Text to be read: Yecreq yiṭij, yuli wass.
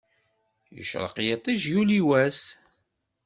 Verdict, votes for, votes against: accepted, 2, 0